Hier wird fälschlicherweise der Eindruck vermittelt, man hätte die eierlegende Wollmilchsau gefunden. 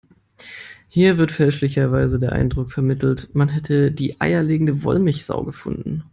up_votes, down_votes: 2, 0